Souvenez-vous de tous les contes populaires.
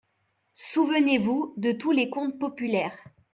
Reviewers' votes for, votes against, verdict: 3, 0, accepted